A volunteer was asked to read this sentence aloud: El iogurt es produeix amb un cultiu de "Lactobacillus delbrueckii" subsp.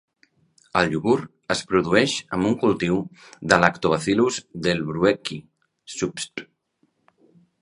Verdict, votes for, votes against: accepted, 2, 0